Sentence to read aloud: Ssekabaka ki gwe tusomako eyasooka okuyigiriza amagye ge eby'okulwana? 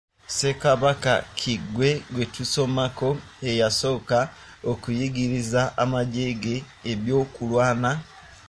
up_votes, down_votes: 1, 2